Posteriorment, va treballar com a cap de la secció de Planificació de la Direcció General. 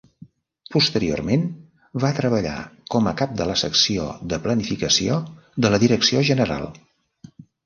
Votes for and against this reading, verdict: 3, 1, accepted